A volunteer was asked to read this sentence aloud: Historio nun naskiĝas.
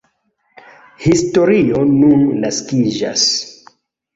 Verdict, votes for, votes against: accepted, 2, 0